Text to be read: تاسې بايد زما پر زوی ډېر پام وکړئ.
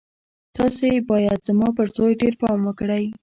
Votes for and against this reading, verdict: 2, 0, accepted